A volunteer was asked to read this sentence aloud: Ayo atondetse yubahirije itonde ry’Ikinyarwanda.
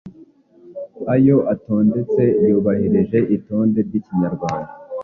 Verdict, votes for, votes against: accepted, 2, 0